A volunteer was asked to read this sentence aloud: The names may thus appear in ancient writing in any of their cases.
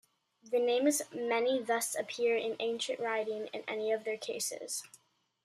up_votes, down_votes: 1, 2